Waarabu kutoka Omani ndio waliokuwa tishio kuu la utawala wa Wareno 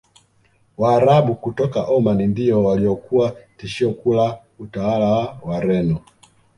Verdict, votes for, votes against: accepted, 2, 0